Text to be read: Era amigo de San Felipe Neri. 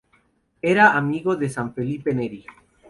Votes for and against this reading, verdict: 2, 2, rejected